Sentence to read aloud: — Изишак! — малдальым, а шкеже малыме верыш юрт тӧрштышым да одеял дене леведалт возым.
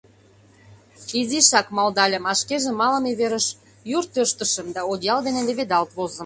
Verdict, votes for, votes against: accepted, 2, 0